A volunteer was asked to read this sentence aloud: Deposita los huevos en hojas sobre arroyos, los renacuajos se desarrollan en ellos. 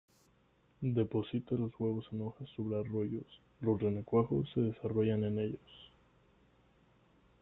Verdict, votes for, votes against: rejected, 1, 2